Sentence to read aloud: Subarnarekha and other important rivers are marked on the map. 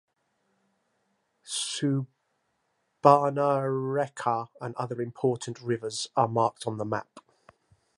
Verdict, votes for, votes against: accepted, 3, 2